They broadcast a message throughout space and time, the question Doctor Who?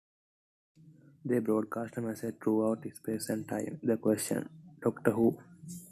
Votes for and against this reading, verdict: 2, 0, accepted